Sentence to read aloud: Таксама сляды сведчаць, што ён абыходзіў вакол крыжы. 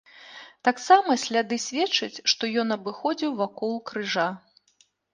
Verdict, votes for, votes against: rejected, 0, 2